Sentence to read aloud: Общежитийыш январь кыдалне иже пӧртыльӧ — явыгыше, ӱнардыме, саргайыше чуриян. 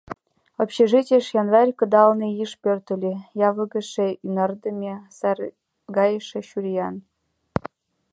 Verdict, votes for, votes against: rejected, 1, 2